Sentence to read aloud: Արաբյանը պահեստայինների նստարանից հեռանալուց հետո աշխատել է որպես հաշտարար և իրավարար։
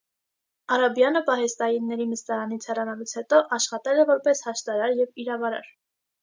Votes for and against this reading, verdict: 2, 0, accepted